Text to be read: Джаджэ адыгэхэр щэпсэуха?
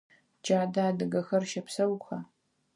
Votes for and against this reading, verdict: 2, 4, rejected